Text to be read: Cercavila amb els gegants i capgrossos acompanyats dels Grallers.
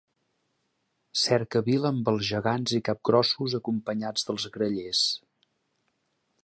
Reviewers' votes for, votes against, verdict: 2, 1, accepted